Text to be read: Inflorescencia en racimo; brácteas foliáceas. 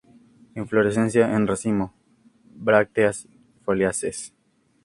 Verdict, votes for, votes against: accepted, 4, 2